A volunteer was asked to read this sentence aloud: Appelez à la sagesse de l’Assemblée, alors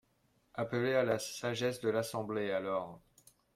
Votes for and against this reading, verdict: 0, 2, rejected